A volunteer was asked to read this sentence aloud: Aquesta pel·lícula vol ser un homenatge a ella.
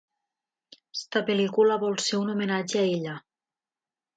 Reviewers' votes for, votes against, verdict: 0, 2, rejected